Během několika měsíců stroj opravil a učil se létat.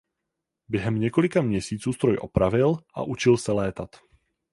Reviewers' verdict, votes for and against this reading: accepted, 4, 0